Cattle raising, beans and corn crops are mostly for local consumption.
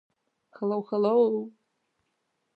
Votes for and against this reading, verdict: 0, 2, rejected